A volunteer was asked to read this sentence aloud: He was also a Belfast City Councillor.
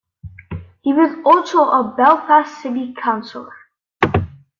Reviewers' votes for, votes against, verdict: 2, 0, accepted